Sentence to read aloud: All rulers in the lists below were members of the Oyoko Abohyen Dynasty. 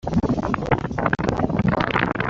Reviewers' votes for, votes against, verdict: 0, 2, rejected